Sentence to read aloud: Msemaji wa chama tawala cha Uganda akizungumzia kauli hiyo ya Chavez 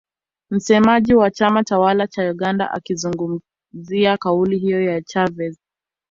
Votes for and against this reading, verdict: 1, 2, rejected